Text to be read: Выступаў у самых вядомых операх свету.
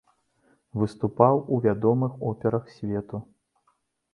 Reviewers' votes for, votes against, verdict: 0, 2, rejected